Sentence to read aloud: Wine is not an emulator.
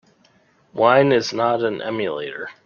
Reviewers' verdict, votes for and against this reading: accepted, 2, 0